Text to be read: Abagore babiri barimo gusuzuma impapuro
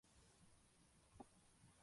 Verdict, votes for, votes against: rejected, 0, 2